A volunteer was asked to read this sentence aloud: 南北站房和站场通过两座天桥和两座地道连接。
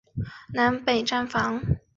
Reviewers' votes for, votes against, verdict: 0, 3, rejected